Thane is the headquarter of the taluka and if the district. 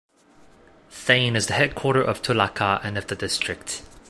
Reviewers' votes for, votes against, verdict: 1, 2, rejected